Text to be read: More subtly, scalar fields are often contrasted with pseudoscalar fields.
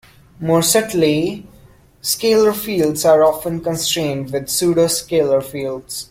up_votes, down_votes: 1, 2